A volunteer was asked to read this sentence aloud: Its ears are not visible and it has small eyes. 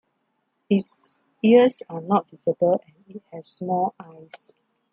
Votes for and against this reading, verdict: 0, 2, rejected